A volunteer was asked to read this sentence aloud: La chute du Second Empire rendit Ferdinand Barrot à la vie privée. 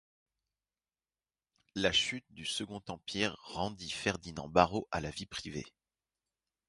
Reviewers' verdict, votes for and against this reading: accepted, 4, 0